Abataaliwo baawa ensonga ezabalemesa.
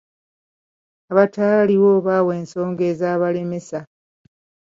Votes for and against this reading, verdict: 2, 0, accepted